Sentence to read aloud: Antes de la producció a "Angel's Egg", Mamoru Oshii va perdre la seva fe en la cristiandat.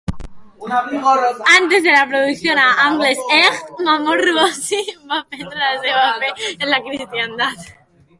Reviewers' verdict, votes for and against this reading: rejected, 0, 2